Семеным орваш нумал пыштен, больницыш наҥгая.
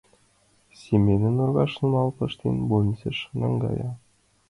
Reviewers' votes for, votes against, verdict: 0, 2, rejected